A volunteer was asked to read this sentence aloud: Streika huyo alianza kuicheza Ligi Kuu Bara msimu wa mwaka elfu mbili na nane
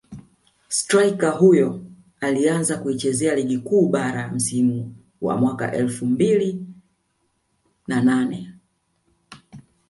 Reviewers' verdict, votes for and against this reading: accepted, 2, 1